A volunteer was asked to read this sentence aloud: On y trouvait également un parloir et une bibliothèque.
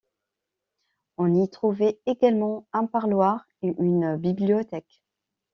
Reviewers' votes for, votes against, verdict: 2, 0, accepted